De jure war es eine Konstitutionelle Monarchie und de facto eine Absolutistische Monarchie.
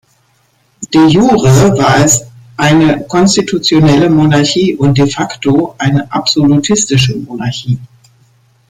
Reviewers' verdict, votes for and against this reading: rejected, 1, 2